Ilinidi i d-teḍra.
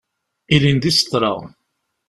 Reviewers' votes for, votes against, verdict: 1, 2, rejected